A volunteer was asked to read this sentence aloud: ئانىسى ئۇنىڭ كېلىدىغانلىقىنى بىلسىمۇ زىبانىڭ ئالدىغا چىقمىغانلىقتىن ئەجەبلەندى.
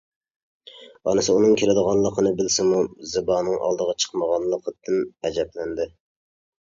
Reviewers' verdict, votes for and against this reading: rejected, 0, 2